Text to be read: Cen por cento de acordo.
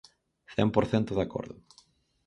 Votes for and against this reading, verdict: 6, 0, accepted